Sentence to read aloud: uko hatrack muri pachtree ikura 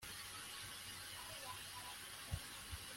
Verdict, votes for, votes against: rejected, 1, 2